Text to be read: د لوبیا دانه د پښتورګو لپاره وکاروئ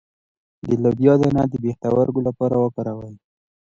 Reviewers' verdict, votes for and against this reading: rejected, 0, 2